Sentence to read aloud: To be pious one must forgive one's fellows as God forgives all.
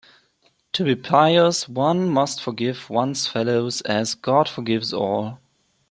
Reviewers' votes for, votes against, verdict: 2, 0, accepted